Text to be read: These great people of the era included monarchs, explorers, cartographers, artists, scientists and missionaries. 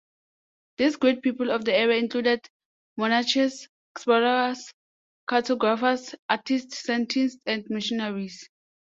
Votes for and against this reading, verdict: 0, 2, rejected